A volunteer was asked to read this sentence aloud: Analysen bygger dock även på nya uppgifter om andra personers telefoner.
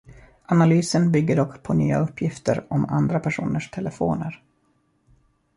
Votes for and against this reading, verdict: 0, 2, rejected